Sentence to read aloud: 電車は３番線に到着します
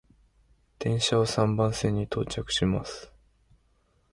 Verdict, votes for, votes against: rejected, 0, 2